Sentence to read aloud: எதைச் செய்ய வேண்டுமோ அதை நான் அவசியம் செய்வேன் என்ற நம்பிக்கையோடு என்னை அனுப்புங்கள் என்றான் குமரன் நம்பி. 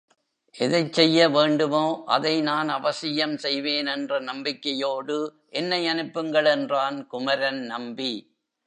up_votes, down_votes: 1, 2